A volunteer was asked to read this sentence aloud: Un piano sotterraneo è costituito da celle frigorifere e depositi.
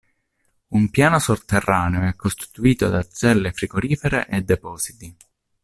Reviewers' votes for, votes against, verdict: 0, 2, rejected